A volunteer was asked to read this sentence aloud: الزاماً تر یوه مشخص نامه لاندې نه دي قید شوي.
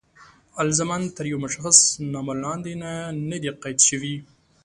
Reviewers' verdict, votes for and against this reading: accepted, 2, 0